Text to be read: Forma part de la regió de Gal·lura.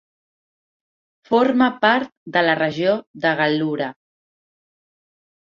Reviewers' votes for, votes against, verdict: 2, 0, accepted